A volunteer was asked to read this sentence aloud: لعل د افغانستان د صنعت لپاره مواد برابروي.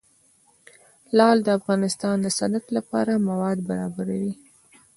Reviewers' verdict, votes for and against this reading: accepted, 2, 0